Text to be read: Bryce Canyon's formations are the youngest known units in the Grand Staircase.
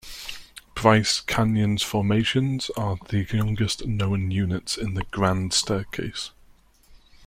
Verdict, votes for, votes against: accepted, 2, 0